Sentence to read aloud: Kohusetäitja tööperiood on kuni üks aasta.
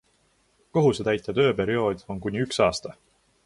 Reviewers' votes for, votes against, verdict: 2, 0, accepted